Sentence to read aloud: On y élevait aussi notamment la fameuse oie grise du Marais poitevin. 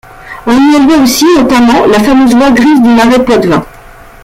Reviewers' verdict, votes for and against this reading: rejected, 1, 2